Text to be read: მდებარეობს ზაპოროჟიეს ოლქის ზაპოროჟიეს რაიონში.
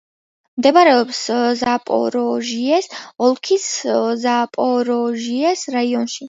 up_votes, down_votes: 2, 1